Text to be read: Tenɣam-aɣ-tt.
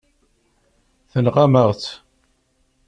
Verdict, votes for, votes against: accepted, 2, 0